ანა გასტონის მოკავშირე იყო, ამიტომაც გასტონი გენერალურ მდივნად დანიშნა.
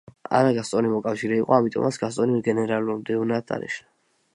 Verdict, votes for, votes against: rejected, 1, 2